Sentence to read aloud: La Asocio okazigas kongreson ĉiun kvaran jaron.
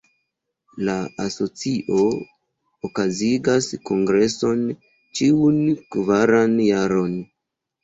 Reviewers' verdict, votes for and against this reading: rejected, 0, 2